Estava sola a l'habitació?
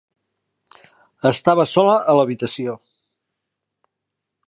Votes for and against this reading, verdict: 0, 2, rejected